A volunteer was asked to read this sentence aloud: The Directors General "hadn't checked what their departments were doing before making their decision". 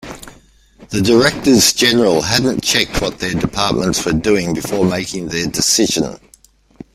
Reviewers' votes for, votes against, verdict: 1, 2, rejected